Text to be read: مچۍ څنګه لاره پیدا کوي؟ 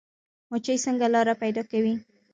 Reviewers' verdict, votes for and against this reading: accepted, 2, 0